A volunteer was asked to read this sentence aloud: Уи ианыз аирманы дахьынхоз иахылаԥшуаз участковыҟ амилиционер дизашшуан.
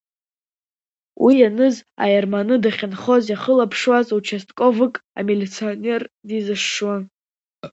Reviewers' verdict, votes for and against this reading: rejected, 1, 2